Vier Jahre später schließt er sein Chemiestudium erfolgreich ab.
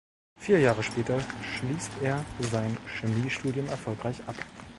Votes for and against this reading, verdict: 3, 0, accepted